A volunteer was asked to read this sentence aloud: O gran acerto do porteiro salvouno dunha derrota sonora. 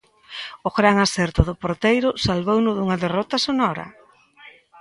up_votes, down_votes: 2, 0